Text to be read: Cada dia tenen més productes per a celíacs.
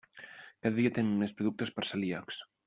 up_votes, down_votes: 1, 2